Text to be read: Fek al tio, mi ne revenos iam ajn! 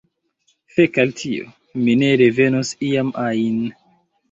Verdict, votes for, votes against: accepted, 3, 0